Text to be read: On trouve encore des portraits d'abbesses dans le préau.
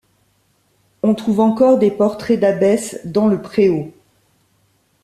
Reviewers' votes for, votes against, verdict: 2, 0, accepted